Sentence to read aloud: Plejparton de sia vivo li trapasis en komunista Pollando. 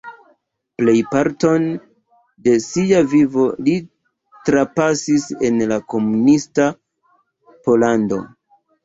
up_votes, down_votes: 0, 2